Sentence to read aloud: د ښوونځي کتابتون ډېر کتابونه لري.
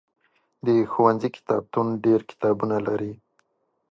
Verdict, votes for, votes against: accepted, 2, 0